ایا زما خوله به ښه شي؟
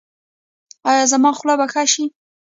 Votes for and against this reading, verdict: 1, 2, rejected